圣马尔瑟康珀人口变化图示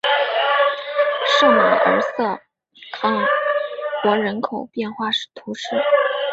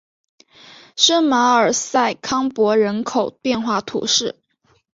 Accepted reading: second